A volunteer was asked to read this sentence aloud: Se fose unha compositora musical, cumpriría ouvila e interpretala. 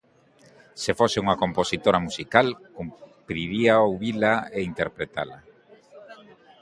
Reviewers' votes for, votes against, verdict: 6, 2, accepted